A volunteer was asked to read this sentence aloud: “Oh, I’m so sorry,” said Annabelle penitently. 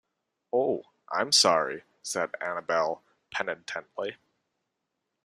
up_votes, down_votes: 1, 2